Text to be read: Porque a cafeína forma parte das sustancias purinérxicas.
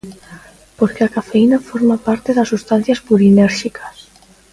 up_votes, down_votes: 2, 0